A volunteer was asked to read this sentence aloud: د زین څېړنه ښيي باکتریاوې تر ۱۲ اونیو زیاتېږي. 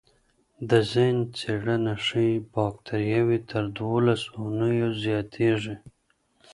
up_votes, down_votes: 0, 2